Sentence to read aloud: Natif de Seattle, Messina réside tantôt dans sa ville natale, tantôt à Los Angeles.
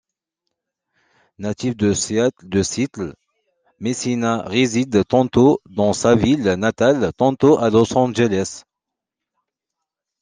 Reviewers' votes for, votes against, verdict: 1, 2, rejected